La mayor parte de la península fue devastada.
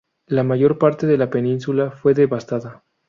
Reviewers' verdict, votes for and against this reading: rejected, 0, 2